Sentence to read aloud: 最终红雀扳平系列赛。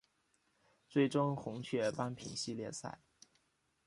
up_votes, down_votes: 2, 0